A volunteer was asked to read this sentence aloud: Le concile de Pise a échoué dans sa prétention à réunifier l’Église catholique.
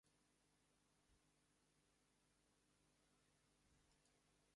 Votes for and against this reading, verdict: 0, 2, rejected